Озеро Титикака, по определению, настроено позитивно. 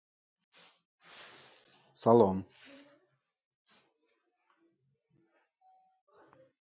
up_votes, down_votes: 0, 2